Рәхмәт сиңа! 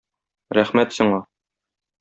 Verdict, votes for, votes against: accepted, 2, 0